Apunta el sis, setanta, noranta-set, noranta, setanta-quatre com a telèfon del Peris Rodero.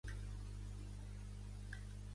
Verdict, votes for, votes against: rejected, 0, 3